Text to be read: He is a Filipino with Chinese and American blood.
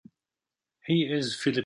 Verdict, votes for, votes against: rejected, 0, 2